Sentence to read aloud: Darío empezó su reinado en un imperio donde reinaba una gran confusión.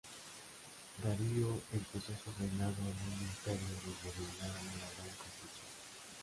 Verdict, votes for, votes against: rejected, 0, 2